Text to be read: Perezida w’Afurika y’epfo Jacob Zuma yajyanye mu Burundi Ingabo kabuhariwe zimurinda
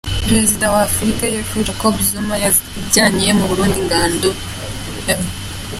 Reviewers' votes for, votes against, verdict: 0, 2, rejected